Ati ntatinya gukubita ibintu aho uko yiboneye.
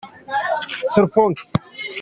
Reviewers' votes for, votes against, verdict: 0, 2, rejected